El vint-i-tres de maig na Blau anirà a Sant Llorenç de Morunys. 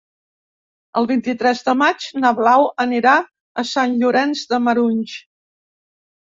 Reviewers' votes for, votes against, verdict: 0, 2, rejected